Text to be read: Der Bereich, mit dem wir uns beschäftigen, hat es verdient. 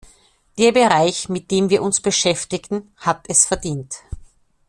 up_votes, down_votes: 1, 2